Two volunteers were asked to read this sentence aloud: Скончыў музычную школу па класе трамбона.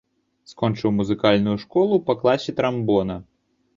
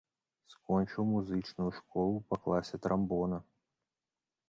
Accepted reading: second